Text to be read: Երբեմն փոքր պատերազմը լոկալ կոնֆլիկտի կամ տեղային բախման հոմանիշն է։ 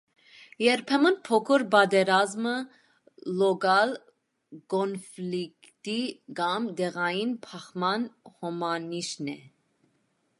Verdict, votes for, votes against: accepted, 2, 0